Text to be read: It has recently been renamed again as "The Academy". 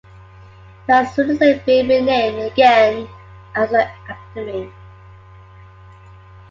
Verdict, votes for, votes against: accepted, 2, 0